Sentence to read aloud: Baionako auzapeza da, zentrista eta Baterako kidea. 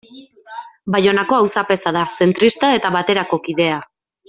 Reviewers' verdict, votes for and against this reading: accepted, 2, 1